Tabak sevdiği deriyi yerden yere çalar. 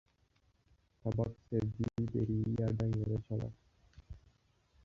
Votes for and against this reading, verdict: 0, 2, rejected